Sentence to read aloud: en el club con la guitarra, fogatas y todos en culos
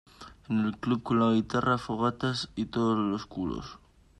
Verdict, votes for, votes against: rejected, 0, 2